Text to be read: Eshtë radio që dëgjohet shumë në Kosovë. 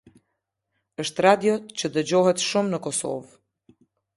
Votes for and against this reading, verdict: 2, 0, accepted